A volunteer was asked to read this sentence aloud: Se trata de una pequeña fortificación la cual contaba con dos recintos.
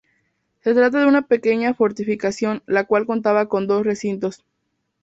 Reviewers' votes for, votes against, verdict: 2, 0, accepted